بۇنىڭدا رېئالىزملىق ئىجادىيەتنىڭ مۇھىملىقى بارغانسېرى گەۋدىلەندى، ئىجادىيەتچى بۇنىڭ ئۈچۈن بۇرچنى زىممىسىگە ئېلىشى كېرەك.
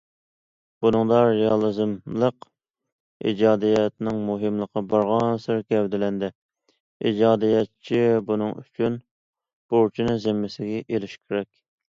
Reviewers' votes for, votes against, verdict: 2, 1, accepted